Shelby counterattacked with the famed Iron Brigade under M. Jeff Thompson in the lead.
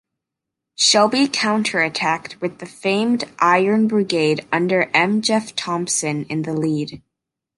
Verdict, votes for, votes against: accepted, 2, 0